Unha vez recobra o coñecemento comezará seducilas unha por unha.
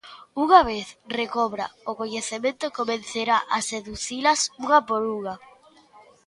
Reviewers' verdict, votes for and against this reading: rejected, 0, 2